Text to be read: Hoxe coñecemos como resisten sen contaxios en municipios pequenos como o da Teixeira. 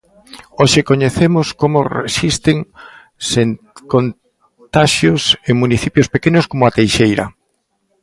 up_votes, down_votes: 0, 2